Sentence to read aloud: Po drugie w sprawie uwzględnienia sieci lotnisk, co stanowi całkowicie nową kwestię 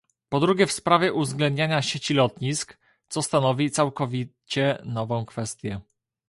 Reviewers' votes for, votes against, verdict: 1, 2, rejected